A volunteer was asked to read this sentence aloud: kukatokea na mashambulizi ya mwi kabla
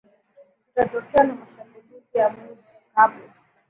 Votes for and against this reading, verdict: 3, 1, accepted